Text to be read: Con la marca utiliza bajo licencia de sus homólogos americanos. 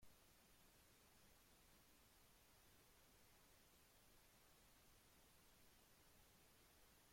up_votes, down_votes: 0, 2